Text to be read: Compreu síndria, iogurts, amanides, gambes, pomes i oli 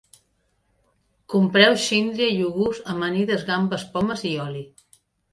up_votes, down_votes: 2, 0